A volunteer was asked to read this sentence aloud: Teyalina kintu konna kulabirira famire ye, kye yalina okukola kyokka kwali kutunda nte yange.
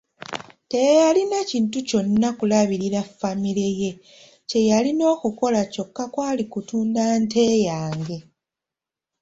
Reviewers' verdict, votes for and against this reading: accepted, 2, 0